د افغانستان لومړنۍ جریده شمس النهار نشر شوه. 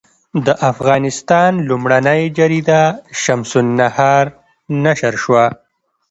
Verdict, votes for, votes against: accepted, 2, 0